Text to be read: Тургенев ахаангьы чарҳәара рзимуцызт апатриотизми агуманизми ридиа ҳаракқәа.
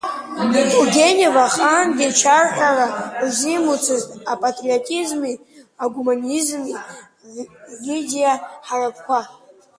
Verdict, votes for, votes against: accepted, 2, 0